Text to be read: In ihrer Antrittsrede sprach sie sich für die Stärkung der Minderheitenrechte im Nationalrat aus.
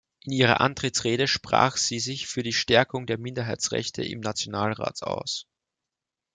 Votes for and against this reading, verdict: 1, 2, rejected